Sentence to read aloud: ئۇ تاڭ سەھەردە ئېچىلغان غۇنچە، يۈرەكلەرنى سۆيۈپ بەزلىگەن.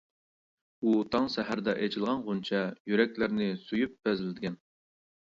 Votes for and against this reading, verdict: 2, 0, accepted